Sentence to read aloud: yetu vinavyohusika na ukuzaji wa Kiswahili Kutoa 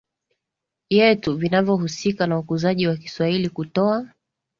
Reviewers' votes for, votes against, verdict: 2, 0, accepted